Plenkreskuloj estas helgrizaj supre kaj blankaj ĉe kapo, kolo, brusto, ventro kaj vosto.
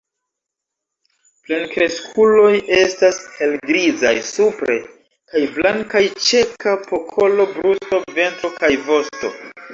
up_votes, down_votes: 1, 2